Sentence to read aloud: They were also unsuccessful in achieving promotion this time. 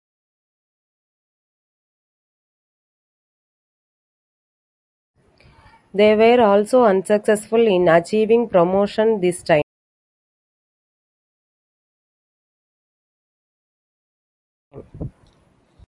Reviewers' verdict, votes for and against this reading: rejected, 1, 2